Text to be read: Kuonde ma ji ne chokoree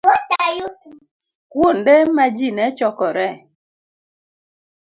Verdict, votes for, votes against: rejected, 1, 2